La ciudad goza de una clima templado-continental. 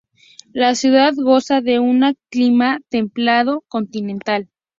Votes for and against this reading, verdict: 2, 0, accepted